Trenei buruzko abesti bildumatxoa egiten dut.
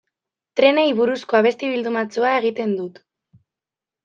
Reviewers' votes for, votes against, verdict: 2, 0, accepted